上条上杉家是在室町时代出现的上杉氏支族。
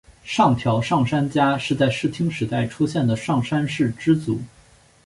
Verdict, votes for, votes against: accepted, 3, 2